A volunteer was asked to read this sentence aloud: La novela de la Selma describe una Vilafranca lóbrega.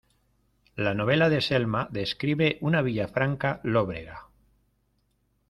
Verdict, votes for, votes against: rejected, 0, 2